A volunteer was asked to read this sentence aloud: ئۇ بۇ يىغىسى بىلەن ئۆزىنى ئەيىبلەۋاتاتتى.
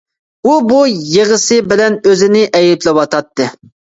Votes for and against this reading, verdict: 2, 0, accepted